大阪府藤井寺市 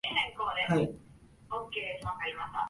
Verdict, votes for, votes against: rejected, 1, 2